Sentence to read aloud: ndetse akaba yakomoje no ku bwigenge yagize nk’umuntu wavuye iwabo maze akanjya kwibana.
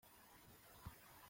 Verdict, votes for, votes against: rejected, 0, 2